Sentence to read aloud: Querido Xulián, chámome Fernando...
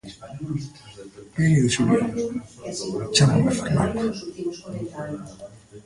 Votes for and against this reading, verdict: 0, 2, rejected